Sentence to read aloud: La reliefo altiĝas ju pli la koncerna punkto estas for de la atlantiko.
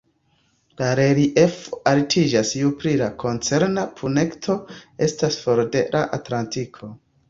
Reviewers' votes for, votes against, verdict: 2, 0, accepted